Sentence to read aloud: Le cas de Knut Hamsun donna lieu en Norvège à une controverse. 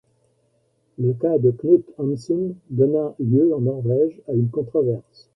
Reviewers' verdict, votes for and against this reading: accepted, 2, 0